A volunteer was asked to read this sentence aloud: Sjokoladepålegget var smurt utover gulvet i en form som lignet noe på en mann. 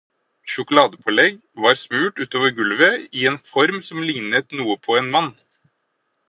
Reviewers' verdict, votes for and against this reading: rejected, 0, 4